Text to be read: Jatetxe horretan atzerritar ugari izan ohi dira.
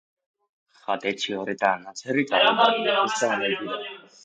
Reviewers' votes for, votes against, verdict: 0, 2, rejected